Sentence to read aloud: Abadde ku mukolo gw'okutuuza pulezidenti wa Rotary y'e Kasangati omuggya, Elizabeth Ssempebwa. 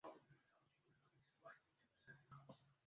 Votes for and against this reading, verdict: 0, 2, rejected